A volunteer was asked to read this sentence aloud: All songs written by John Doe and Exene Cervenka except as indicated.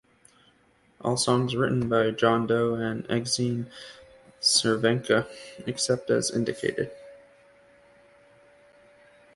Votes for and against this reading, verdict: 2, 1, accepted